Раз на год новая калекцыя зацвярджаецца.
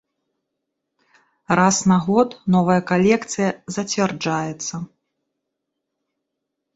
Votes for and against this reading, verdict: 2, 0, accepted